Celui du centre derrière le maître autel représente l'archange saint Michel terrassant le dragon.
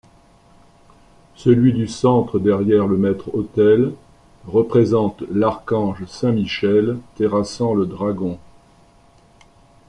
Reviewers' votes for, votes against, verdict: 2, 0, accepted